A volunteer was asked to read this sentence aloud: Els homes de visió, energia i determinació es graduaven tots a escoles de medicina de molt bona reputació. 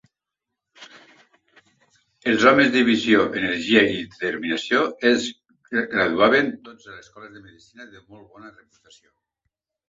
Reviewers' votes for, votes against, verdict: 0, 2, rejected